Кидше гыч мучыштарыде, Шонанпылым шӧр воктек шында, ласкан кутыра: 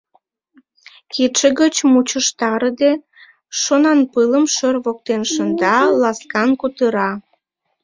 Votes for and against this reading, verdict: 1, 2, rejected